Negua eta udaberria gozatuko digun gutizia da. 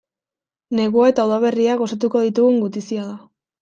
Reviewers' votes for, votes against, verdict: 1, 2, rejected